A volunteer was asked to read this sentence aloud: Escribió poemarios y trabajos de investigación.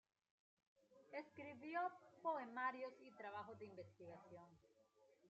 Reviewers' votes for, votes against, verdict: 0, 2, rejected